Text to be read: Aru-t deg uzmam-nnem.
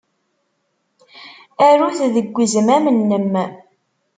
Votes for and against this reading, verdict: 2, 0, accepted